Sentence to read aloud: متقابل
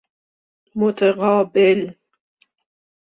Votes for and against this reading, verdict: 2, 0, accepted